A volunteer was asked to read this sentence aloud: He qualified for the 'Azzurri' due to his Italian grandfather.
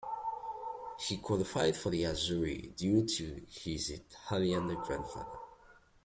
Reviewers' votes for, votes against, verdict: 2, 1, accepted